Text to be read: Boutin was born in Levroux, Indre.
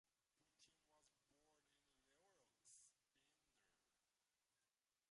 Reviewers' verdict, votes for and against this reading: rejected, 0, 2